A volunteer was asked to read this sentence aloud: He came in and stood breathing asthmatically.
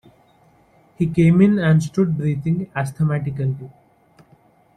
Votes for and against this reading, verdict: 2, 1, accepted